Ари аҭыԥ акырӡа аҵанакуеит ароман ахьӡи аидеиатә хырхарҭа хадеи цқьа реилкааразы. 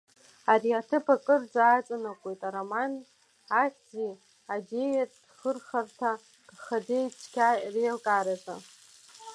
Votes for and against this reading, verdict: 1, 2, rejected